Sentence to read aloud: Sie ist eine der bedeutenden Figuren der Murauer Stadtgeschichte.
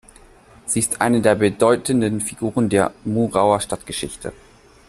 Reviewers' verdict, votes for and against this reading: accepted, 2, 0